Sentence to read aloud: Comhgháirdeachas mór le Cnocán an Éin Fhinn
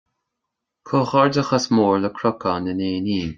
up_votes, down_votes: 2, 0